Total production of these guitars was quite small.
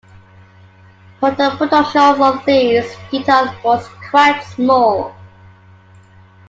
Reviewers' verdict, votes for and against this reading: rejected, 1, 2